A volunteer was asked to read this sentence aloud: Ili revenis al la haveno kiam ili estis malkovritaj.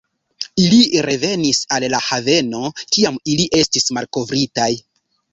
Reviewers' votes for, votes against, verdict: 2, 1, accepted